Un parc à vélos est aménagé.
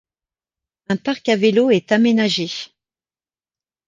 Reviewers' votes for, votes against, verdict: 2, 0, accepted